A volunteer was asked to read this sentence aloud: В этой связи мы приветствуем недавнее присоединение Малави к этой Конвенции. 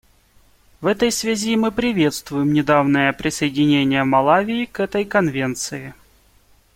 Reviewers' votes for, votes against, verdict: 2, 1, accepted